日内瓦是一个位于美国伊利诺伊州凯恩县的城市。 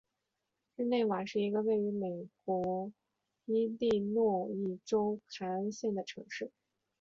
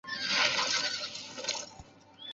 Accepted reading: first